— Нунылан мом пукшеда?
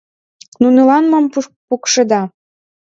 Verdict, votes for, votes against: rejected, 1, 2